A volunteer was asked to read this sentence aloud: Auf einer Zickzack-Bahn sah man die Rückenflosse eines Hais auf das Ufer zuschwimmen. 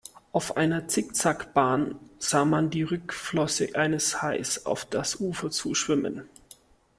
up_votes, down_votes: 1, 2